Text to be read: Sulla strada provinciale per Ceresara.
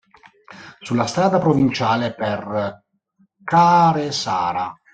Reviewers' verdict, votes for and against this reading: rejected, 0, 2